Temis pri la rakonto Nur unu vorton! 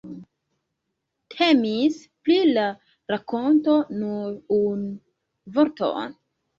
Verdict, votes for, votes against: rejected, 1, 2